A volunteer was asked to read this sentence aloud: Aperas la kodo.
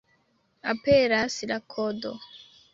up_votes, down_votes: 1, 2